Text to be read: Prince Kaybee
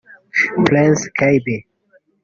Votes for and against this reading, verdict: 1, 2, rejected